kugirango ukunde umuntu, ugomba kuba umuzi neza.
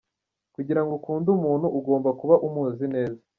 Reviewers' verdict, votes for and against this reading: accepted, 2, 0